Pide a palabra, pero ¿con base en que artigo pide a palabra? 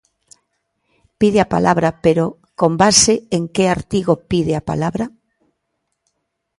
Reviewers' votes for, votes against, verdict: 2, 0, accepted